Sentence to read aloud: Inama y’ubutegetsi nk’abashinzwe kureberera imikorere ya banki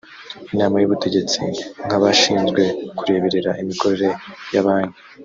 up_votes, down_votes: 0, 2